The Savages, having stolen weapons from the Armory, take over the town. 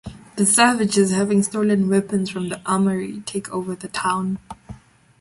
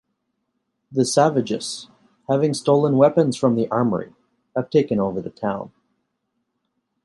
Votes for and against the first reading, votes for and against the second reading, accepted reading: 2, 0, 0, 2, first